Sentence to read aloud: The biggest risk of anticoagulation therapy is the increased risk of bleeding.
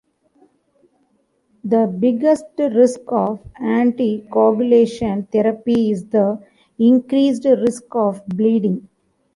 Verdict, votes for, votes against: accepted, 2, 0